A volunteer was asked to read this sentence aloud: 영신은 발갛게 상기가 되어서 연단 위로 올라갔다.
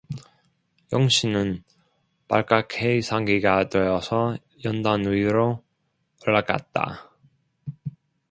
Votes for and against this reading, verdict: 2, 0, accepted